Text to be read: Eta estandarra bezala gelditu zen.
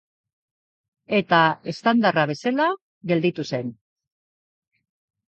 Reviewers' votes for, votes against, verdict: 1, 2, rejected